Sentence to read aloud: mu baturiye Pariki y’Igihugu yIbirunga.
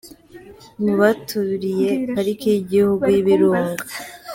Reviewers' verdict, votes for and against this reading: accepted, 3, 1